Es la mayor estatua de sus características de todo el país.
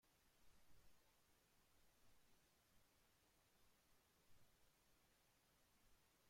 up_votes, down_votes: 0, 2